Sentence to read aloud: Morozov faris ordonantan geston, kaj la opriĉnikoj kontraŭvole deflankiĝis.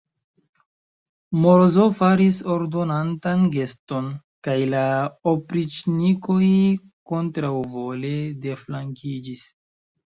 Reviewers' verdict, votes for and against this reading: rejected, 0, 2